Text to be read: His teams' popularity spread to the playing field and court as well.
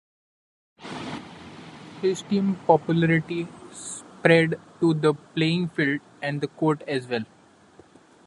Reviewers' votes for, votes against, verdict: 0, 2, rejected